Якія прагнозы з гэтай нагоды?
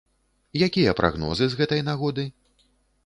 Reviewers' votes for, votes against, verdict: 2, 0, accepted